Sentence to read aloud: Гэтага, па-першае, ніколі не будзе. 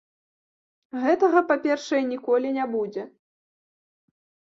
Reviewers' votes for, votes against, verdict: 2, 0, accepted